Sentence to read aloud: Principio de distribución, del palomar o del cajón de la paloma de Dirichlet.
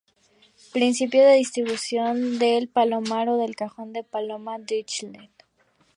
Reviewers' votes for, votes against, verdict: 0, 2, rejected